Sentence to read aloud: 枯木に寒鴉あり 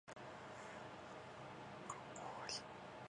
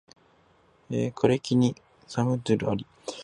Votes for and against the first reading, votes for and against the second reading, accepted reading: 0, 2, 2, 0, second